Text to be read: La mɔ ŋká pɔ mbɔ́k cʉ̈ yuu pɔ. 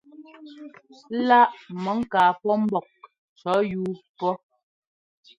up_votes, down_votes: 2, 0